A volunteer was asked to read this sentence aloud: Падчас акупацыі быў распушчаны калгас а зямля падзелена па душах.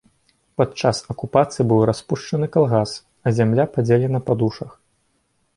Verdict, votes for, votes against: accepted, 2, 0